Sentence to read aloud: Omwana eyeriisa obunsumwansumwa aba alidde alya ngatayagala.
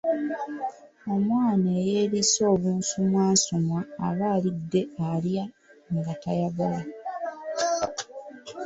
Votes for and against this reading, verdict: 3, 0, accepted